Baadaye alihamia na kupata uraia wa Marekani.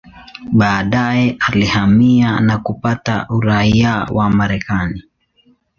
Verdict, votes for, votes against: accepted, 2, 0